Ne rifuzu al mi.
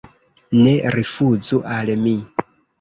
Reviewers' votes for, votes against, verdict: 0, 2, rejected